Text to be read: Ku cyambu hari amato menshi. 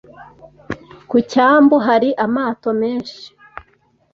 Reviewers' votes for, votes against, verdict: 2, 0, accepted